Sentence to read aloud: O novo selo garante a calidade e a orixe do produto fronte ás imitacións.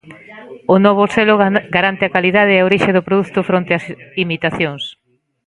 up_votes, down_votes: 0, 2